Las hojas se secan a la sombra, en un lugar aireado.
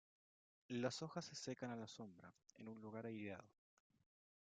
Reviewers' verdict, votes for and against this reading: accepted, 2, 1